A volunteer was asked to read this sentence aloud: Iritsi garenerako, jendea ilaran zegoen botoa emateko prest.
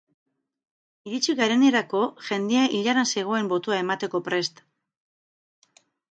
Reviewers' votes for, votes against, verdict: 2, 2, rejected